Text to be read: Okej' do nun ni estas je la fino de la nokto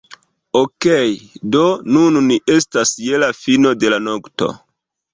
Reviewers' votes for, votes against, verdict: 2, 0, accepted